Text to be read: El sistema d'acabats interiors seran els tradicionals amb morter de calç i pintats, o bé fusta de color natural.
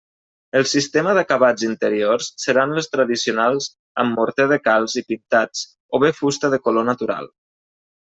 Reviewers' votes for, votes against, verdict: 0, 2, rejected